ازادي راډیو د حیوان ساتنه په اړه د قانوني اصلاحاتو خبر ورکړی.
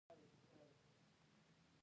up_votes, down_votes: 0, 2